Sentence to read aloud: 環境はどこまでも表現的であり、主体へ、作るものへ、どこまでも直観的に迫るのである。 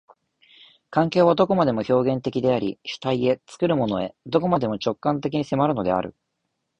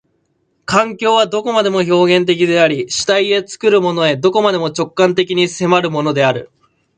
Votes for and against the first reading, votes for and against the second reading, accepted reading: 2, 0, 1, 2, first